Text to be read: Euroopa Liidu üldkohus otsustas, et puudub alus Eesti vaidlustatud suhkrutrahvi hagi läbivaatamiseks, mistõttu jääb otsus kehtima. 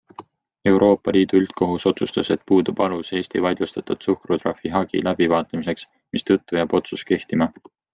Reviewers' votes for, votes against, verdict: 2, 0, accepted